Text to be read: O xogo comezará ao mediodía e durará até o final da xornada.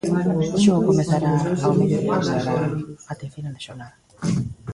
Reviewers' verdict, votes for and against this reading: rejected, 0, 2